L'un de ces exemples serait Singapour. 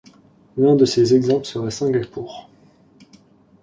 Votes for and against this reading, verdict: 2, 0, accepted